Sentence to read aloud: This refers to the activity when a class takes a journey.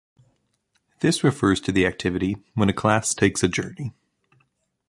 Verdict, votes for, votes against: rejected, 1, 2